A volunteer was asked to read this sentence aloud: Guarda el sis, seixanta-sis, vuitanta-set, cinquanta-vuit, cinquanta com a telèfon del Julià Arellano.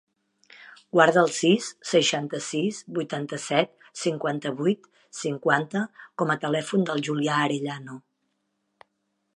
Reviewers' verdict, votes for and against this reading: accepted, 2, 0